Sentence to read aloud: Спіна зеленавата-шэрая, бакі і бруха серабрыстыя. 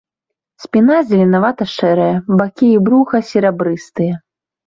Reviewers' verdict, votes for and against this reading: rejected, 1, 2